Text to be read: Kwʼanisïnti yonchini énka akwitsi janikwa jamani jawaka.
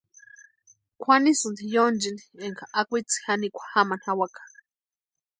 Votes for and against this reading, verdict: 2, 0, accepted